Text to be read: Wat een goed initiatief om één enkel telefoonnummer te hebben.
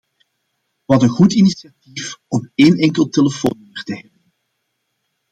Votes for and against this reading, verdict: 0, 2, rejected